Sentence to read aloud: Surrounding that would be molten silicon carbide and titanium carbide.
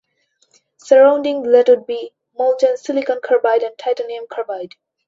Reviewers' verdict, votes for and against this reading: accepted, 2, 0